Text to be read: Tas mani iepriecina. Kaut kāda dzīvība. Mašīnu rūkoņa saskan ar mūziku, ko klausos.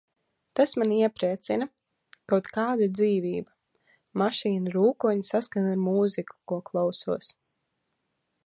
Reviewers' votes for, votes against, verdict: 2, 0, accepted